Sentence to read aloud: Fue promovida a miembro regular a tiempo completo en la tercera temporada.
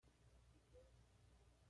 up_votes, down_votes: 1, 2